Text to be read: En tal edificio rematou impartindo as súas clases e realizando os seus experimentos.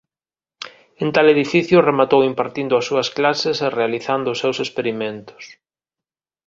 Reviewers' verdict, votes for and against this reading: accepted, 2, 0